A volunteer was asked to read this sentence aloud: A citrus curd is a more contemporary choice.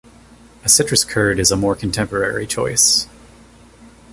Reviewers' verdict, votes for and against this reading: accepted, 2, 0